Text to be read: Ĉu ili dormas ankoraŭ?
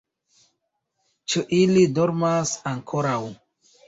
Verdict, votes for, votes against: accepted, 2, 0